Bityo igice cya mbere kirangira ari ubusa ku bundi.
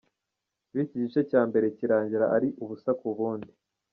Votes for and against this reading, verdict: 1, 2, rejected